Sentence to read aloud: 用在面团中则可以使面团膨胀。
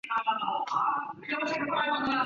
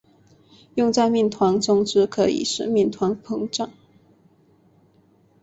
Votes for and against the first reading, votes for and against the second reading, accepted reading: 0, 2, 2, 0, second